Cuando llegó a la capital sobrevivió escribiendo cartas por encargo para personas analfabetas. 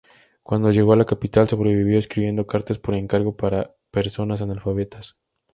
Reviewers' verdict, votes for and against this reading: accepted, 4, 0